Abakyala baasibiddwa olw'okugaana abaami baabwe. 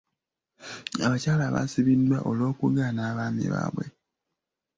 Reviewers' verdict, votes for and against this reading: rejected, 0, 2